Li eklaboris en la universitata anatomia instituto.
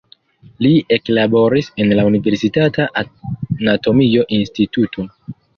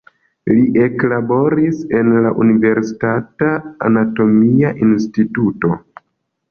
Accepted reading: second